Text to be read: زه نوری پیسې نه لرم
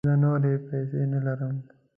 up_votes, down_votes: 2, 0